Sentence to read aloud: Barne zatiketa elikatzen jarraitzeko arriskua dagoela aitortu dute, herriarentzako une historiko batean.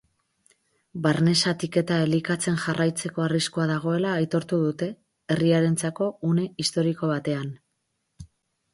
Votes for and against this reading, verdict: 4, 0, accepted